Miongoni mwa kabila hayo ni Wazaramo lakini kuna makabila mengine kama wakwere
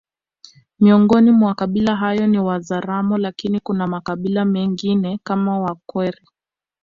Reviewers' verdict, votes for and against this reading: accepted, 2, 0